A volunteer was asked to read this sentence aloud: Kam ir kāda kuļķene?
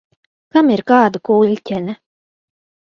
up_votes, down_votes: 2, 0